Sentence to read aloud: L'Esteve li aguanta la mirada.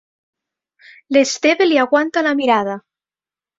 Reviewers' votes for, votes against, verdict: 4, 0, accepted